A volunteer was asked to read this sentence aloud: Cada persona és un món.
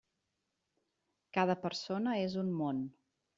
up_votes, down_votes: 3, 0